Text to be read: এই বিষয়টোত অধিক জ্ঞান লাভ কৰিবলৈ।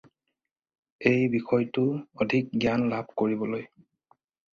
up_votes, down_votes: 2, 4